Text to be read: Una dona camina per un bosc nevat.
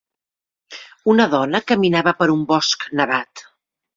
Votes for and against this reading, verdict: 1, 2, rejected